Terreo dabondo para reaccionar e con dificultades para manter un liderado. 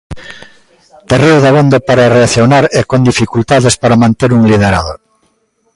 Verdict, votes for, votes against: accepted, 2, 0